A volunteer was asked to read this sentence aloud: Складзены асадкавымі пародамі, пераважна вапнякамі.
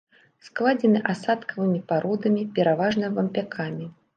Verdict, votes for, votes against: rejected, 0, 2